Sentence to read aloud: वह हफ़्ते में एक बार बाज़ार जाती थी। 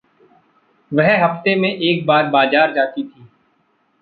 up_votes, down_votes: 2, 0